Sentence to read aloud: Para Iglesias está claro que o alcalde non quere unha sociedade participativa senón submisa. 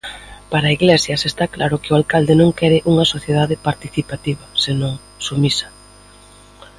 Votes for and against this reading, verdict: 2, 0, accepted